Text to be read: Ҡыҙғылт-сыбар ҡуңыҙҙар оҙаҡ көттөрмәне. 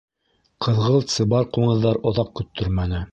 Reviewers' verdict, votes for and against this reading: accepted, 2, 0